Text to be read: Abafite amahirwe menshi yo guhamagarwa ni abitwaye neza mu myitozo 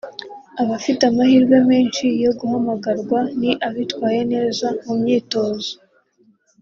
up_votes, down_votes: 2, 1